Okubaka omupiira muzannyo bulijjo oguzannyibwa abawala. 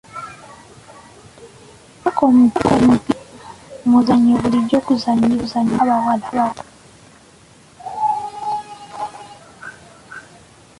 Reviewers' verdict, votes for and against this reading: rejected, 0, 2